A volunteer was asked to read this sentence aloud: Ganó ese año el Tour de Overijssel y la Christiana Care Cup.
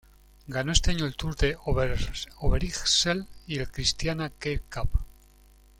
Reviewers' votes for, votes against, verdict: 1, 2, rejected